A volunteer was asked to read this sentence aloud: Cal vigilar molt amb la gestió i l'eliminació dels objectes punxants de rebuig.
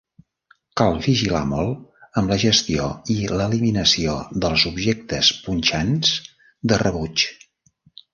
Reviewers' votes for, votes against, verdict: 2, 0, accepted